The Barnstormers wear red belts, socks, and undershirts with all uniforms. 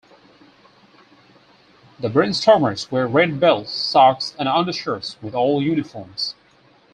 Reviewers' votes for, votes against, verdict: 0, 4, rejected